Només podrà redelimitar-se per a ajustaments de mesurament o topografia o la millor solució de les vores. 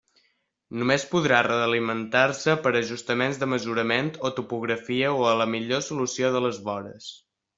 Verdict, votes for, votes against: rejected, 0, 2